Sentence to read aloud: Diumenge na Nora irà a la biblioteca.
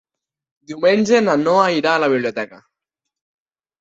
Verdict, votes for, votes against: rejected, 0, 3